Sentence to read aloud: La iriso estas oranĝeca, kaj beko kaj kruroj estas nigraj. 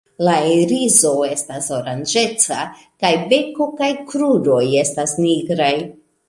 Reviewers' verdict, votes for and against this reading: accepted, 2, 0